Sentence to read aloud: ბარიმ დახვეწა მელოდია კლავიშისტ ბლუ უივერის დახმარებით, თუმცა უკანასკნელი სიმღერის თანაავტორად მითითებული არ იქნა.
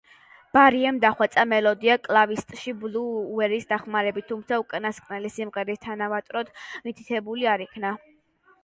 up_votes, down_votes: 0, 2